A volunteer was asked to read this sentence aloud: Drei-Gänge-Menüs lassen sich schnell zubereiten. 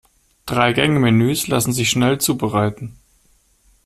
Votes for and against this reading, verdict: 2, 0, accepted